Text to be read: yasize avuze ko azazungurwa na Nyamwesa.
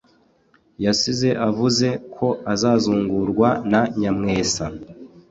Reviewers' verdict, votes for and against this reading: accepted, 2, 0